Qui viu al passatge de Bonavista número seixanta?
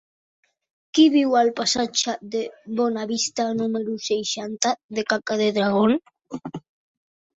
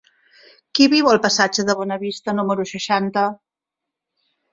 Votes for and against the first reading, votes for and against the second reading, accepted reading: 1, 2, 3, 0, second